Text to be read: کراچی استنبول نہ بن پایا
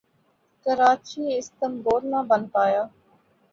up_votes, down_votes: 2, 2